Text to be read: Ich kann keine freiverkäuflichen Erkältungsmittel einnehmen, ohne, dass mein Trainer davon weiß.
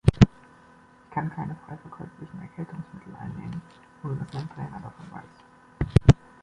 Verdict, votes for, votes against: accepted, 2, 1